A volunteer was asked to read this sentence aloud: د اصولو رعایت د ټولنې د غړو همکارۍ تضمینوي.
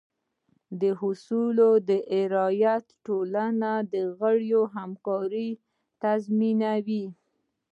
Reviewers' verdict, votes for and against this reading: accepted, 2, 1